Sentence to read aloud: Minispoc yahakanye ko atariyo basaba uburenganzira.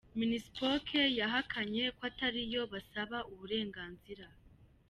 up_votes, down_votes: 2, 0